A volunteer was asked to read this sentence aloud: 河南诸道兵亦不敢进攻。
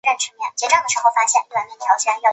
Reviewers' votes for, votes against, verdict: 1, 4, rejected